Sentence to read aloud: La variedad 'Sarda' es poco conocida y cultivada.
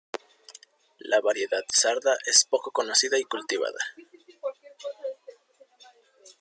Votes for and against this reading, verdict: 2, 1, accepted